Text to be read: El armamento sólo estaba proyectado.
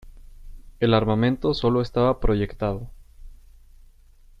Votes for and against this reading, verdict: 2, 0, accepted